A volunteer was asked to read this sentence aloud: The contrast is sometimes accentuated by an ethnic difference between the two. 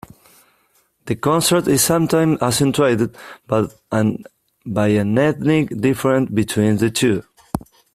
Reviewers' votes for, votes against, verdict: 1, 2, rejected